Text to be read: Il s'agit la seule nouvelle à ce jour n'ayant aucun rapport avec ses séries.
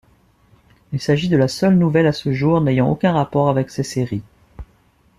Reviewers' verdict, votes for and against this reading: rejected, 2, 3